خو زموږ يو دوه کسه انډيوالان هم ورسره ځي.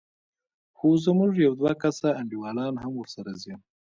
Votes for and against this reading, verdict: 1, 2, rejected